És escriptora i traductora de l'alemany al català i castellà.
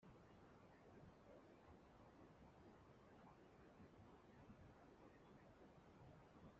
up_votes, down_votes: 0, 2